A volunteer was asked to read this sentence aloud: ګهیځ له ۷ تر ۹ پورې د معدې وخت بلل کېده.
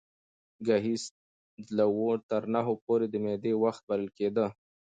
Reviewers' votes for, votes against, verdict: 0, 2, rejected